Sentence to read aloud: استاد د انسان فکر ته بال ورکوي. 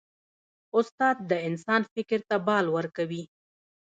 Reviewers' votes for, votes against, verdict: 2, 0, accepted